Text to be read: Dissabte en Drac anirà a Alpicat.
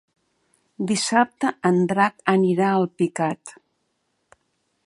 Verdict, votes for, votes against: accepted, 2, 0